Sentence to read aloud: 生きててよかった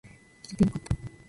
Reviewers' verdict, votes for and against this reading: rejected, 1, 2